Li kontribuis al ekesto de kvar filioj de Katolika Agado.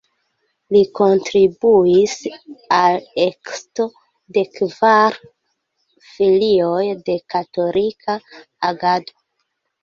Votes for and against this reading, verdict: 1, 2, rejected